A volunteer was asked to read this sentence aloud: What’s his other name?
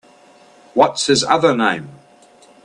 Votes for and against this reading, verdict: 2, 0, accepted